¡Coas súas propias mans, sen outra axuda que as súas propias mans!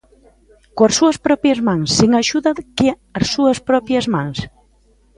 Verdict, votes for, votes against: rejected, 0, 2